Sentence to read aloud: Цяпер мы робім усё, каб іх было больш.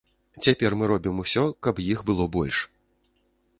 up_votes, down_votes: 2, 0